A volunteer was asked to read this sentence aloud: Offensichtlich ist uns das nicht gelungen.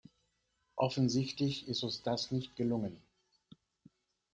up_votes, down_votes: 2, 0